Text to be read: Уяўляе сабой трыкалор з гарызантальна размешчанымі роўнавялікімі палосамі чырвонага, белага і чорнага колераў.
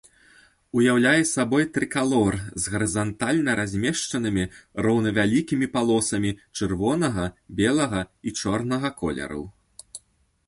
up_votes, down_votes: 2, 0